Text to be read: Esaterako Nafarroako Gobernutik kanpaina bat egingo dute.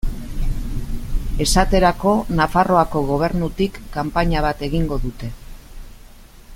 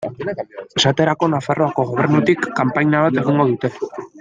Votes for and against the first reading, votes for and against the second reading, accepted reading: 2, 0, 1, 2, first